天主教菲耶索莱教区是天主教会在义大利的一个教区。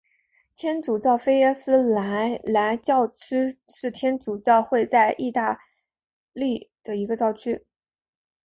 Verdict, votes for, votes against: accepted, 3, 1